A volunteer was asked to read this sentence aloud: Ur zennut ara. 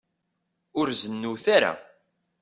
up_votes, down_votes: 2, 0